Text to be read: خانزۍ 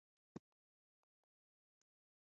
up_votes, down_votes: 2, 3